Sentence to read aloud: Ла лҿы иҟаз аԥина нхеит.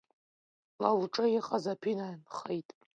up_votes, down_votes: 1, 2